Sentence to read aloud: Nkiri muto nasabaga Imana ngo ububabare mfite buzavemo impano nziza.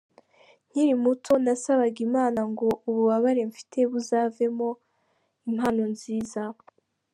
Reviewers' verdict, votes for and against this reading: accepted, 2, 0